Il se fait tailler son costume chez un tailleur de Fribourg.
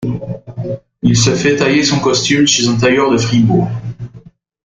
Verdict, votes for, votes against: accepted, 2, 0